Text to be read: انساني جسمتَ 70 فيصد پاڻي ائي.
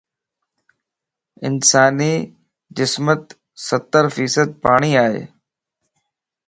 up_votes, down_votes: 0, 2